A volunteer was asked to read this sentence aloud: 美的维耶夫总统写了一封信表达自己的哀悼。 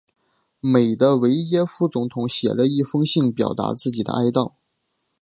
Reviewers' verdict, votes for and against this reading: accepted, 5, 0